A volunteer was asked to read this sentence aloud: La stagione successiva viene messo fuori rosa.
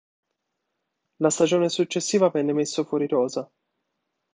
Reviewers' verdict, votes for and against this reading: rejected, 1, 2